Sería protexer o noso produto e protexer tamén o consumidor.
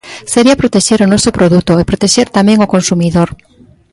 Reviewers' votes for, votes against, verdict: 2, 0, accepted